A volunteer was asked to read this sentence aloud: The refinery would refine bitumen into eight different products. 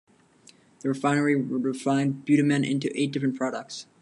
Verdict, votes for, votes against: accepted, 2, 0